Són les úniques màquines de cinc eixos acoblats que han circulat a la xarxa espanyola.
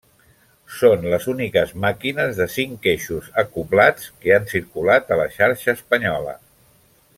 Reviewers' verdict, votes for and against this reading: rejected, 0, 2